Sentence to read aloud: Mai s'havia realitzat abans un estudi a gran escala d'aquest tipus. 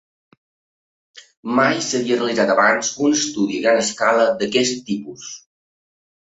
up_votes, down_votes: 2, 0